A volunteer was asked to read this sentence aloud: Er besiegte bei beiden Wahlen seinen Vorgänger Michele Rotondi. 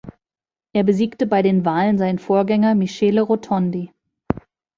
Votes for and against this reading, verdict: 0, 3, rejected